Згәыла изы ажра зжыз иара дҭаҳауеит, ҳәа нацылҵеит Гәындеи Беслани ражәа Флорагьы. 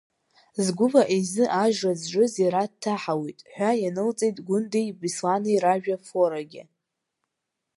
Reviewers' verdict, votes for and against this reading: accepted, 2, 0